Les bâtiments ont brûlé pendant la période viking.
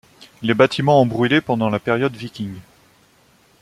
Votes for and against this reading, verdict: 2, 0, accepted